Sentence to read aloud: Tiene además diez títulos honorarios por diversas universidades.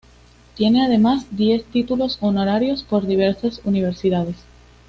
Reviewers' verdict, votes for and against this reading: accepted, 2, 0